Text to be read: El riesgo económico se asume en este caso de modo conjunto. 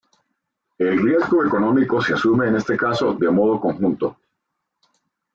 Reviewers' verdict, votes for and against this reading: accepted, 2, 0